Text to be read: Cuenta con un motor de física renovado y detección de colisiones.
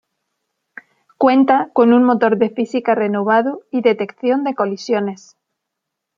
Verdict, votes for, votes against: accepted, 2, 0